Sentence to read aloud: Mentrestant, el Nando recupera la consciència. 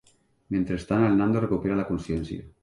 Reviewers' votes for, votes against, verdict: 2, 0, accepted